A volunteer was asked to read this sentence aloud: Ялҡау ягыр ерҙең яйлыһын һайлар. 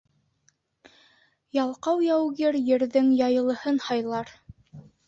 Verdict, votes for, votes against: rejected, 0, 2